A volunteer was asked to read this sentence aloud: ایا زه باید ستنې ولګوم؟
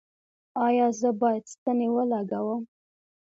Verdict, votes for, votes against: accepted, 2, 0